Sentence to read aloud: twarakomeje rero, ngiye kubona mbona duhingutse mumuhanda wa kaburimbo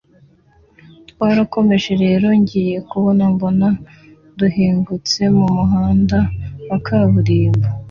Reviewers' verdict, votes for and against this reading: accepted, 2, 0